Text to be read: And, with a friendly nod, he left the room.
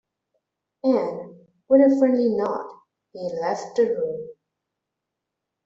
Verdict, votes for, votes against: rejected, 1, 2